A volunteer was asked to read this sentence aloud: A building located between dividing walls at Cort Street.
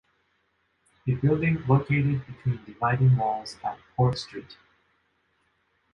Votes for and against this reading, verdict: 2, 1, accepted